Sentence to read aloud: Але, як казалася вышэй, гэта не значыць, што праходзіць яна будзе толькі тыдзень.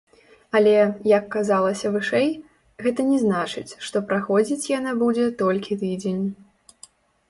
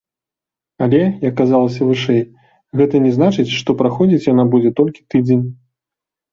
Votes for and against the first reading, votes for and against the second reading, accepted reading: 1, 2, 2, 0, second